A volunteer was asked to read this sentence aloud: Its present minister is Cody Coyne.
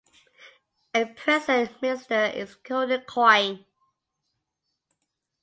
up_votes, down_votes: 0, 2